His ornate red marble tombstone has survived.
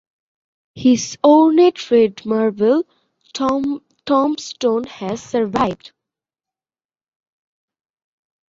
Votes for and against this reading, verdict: 0, 2, rejected